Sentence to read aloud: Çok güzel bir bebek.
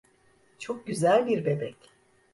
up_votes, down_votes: 2, 0